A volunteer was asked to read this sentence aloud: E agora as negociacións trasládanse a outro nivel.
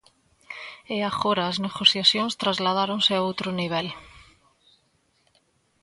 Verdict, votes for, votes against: rejected, 0, 2